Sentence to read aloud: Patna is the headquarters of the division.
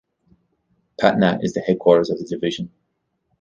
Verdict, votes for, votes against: accepted, 2, 0